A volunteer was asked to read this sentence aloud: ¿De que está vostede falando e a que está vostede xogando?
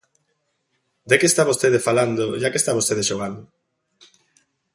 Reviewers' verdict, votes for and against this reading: accepted, 2, 0